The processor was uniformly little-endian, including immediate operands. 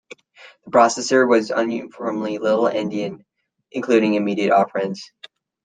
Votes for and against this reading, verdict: 1, 2, rejected